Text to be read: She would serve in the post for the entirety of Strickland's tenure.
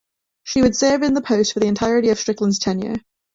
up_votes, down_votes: 1, 2